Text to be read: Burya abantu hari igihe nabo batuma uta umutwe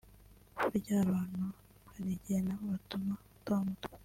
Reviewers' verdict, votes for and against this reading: rejected, 1, 2